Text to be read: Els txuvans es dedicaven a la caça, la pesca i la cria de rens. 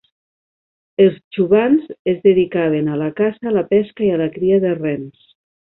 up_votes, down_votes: 2, 1